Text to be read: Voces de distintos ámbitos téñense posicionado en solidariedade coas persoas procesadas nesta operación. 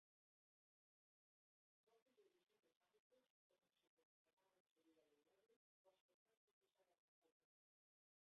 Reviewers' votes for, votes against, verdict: 0, 2, rejected